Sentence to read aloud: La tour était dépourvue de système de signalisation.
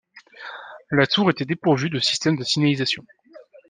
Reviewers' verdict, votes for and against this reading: accepted, 2, 0